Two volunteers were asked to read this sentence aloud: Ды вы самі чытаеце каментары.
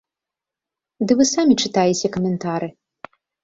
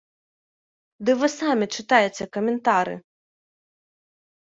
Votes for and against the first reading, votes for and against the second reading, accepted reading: 2, 0, 1, 2, first